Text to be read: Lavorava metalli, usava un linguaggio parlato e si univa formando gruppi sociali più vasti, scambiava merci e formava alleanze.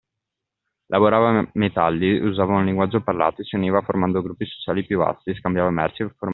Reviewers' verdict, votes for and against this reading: rejected, 0, 2